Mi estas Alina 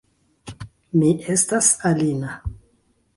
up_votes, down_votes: 2, 1